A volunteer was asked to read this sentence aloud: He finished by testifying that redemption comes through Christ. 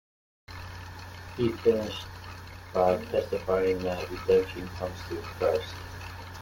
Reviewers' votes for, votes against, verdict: 2, 1, accepted